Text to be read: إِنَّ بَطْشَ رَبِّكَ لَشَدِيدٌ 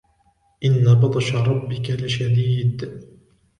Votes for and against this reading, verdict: 2, 0, accepted